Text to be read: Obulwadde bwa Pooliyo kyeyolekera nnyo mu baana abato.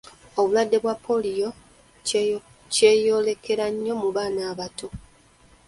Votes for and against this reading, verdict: 1, 2, rejected